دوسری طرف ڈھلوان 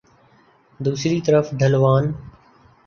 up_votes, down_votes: 3, 0